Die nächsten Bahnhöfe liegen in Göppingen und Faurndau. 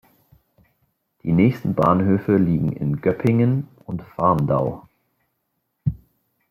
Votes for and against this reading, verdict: 2, 0, accepted